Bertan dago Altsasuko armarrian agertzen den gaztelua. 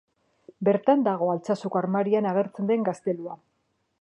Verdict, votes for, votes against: rejected, 0, 2